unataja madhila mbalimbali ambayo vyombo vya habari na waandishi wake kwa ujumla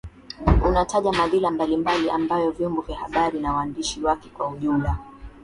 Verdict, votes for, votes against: accepted, 3, 0